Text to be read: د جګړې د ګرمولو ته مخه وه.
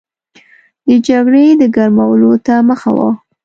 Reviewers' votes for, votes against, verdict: 2, 1, accepted